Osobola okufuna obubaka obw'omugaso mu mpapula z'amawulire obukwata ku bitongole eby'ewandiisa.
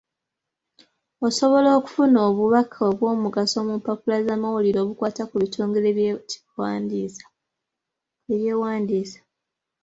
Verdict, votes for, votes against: rejected, 1, 2